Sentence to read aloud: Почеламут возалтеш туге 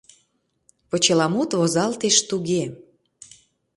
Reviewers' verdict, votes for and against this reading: accepted, 2, 0